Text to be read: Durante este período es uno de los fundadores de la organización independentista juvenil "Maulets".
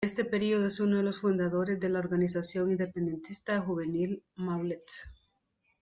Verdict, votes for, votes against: rejected, 0, 2